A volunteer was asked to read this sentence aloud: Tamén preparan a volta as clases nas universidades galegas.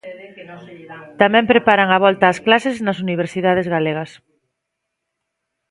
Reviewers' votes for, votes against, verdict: 1, 2, rejected